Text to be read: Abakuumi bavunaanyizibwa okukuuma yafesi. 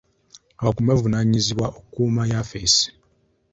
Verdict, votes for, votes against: accepted, 2, 0